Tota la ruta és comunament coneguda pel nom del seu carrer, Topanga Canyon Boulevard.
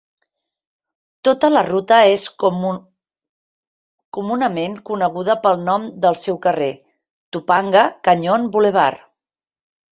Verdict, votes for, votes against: rejected, 1, 2